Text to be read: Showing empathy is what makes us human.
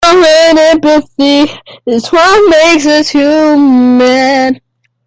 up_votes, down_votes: 0, 2